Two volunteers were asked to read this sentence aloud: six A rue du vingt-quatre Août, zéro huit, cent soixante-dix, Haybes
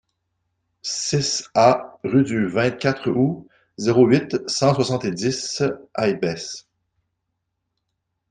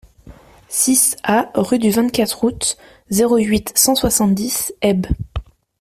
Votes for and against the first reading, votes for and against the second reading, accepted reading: 1, 2, 2, 0, second